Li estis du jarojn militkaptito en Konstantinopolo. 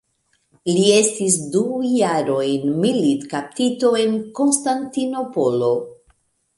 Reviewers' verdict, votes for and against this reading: rejected, 0, 2